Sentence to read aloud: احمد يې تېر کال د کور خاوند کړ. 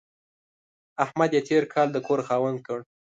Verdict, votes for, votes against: accepted, 2, 0